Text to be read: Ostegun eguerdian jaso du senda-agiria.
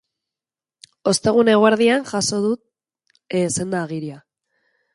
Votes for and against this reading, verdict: 0, 4, rejected